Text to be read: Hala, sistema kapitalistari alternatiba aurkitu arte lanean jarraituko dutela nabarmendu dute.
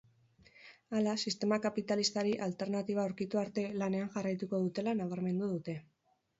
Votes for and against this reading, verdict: 4, 0, accepted